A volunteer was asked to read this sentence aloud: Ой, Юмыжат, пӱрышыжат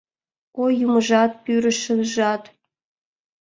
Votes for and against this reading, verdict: 2, 0, accepted